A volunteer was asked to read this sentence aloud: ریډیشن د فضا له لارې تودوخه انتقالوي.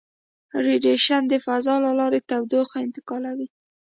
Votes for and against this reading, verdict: 2, 0, accepted